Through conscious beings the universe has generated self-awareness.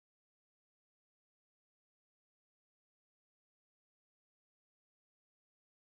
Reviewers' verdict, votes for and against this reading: rejected, 0, 3